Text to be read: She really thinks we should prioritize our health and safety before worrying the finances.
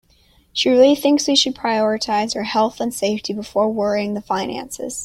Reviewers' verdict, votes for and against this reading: accepted, 2, 0